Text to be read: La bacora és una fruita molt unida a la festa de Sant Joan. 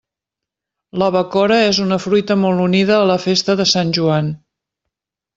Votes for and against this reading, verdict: 3, 0, accepted